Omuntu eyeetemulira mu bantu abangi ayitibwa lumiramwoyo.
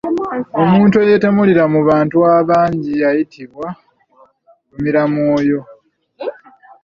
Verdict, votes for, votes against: rejected, 1, 2